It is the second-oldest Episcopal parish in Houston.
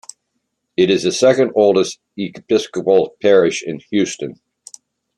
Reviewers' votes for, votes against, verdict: 2, 0, accepted